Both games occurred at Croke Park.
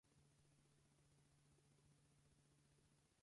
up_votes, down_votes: 0, 4